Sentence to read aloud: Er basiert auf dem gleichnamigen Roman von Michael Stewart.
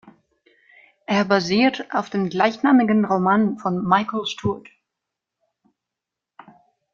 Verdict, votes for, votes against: accepted, 2, 0